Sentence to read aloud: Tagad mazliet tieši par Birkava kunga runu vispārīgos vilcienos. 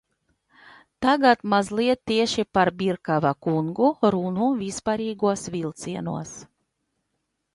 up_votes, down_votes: 0, 2